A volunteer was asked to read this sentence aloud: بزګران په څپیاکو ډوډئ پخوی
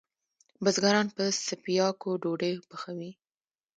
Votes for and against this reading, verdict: 1, 2, rejected